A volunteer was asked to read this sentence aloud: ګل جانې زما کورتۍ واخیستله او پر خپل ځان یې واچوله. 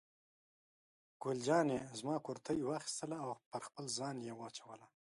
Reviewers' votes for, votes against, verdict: 3, 0, accepted